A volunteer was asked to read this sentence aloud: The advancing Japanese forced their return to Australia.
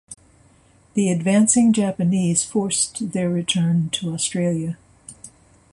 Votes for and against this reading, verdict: 2, 0, accepted